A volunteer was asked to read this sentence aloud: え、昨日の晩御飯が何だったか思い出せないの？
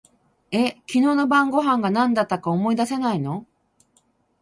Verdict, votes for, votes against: rejected, 2, 2